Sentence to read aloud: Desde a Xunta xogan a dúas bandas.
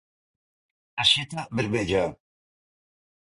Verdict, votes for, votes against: rejected, 0, 3